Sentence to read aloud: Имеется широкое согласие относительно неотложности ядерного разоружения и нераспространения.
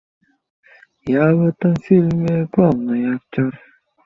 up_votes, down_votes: 0, 2